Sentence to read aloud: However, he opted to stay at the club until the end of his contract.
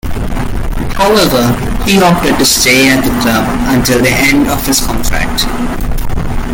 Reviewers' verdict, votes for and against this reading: accepted, 2, 0